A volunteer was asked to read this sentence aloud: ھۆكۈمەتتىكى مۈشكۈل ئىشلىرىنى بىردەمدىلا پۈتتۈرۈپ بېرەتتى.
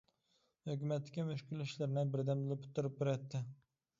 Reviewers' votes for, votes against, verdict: 0, 2, rejected